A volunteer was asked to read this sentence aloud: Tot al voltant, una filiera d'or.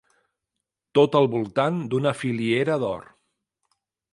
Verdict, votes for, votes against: rejected, 0, 2